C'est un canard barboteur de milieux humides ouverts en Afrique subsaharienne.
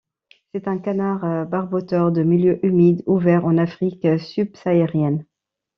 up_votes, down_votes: 2, 0